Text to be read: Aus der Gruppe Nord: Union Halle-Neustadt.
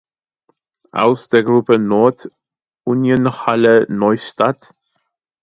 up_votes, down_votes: 1, 2